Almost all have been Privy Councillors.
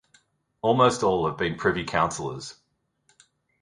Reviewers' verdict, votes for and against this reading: accepted, 2, 0